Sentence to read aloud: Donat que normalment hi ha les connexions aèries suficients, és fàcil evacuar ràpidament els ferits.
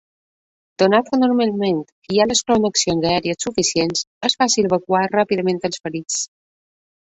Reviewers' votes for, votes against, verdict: 0, 2, rejected